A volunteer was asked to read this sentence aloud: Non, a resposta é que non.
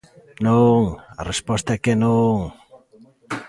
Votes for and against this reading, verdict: 2, 0, accepted